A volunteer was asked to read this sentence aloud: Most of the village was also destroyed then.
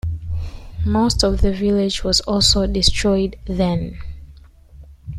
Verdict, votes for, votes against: accepted, 2, 0